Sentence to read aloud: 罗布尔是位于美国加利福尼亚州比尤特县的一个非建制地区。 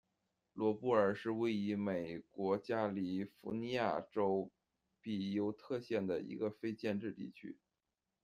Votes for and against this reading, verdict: 0, 2, rejected